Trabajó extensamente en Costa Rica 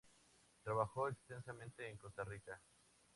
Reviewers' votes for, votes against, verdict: 2, 0, accepted